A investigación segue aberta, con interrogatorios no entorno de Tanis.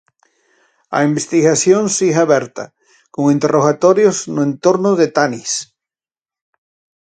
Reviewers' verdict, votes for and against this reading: rejected, 2, 2